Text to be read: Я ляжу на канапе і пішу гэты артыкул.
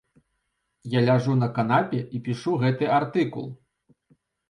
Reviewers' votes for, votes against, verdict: 2, 0, accepted